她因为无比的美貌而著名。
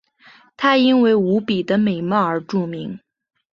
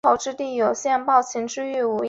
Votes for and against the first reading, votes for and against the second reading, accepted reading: 8, 0, 0, 2, first